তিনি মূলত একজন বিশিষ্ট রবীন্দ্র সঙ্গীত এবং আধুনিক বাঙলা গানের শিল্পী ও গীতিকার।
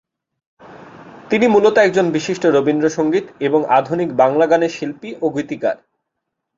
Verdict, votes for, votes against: accepted, 5, 0